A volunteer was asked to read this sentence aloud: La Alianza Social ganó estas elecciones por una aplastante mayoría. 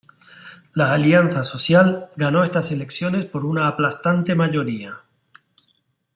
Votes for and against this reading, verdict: 1, 2, rejected